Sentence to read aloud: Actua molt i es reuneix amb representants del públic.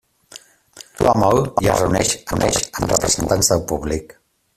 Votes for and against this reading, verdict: 0, 2, rejected